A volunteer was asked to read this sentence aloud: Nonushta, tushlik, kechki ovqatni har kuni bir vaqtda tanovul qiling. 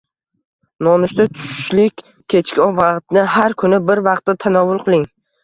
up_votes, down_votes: 0, 2